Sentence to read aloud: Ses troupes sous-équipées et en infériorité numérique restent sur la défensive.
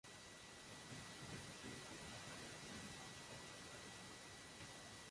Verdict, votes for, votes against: rejected, 0, 3